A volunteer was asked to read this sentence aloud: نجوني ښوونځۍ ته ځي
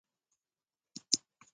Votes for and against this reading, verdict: 0, 2, rejected